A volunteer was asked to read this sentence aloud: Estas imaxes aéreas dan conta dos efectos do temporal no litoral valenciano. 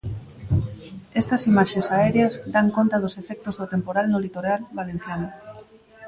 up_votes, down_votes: 2, 1